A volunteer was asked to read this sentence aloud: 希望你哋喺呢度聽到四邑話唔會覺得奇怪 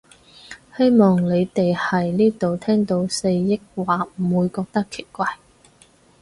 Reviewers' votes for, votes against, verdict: 2, 2, rejected